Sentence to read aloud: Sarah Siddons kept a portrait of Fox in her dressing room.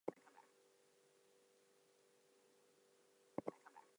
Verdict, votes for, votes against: accepted, 2, 0